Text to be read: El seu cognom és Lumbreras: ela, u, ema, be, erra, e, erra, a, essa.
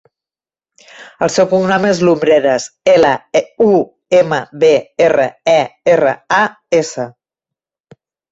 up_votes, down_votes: 0, 2